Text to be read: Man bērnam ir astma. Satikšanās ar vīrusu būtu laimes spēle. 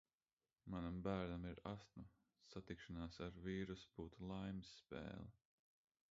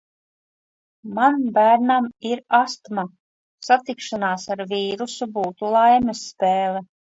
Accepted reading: second